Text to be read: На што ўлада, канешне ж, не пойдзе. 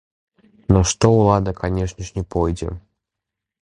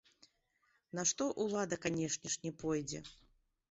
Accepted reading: first